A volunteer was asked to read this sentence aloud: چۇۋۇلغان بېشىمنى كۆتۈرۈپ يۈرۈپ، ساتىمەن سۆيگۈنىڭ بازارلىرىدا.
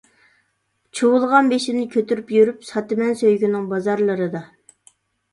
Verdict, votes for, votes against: accepted, 2, 0